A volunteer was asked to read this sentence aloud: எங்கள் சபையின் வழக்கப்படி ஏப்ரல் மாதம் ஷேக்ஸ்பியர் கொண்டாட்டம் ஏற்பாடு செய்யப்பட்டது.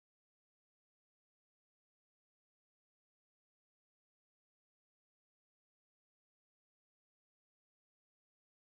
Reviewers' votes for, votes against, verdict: 0, 2, rejected